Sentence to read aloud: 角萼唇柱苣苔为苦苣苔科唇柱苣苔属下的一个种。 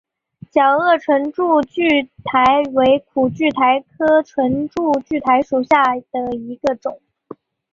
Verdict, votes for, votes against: accepted, 3, 1